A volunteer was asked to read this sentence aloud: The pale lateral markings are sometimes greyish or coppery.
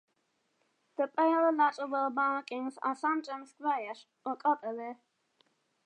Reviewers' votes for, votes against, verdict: 1, 2, rejected